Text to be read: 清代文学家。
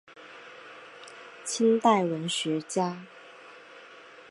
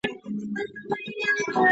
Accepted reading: first